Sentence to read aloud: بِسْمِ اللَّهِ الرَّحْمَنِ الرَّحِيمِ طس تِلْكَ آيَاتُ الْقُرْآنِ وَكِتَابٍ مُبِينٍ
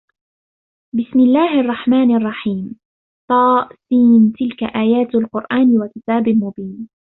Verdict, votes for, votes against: accepted, 2, 0